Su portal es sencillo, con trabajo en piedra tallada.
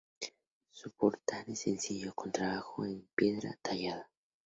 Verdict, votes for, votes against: accepted, 2, 0